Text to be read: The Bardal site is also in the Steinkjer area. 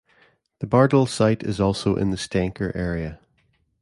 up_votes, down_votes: 2, 0